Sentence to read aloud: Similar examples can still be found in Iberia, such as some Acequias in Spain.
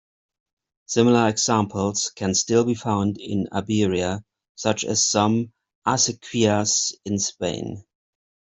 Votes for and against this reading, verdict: 2, 0, accepted